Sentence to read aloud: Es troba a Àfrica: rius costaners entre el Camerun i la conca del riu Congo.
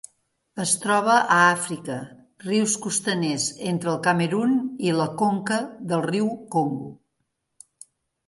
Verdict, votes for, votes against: accepted, 2, 1